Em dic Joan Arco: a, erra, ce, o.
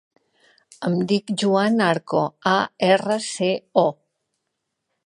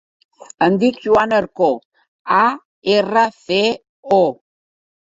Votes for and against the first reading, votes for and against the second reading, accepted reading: 2, 0, 2, 3, first